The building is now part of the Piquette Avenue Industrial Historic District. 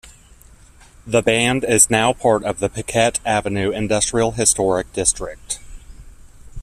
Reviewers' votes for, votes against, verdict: 0, 2, rejected